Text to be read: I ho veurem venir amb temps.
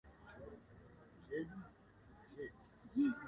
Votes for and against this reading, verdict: 0, 2, rejected